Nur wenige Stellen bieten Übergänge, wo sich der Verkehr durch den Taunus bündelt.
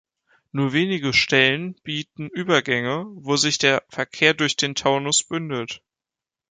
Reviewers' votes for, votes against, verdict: 3, 0, accepted